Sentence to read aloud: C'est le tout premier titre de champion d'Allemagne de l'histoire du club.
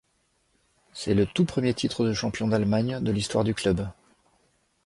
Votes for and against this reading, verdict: 2, 0, accepted